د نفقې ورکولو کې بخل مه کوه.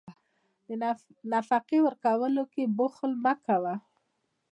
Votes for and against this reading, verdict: 2, 0, accepted